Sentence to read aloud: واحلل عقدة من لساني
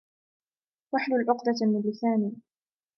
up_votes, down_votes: 2, 1